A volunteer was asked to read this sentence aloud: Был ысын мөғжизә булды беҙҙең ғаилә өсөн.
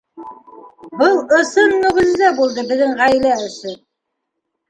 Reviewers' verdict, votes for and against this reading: accepted, 2, 1